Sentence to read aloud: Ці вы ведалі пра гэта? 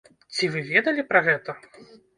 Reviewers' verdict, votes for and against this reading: accepted, 2, 1